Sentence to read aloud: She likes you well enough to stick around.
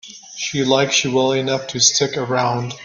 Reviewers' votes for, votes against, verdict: 1, 2, rejected